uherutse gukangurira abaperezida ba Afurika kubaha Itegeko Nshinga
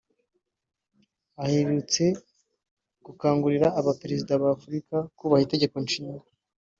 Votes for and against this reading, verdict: 1, 2, rejected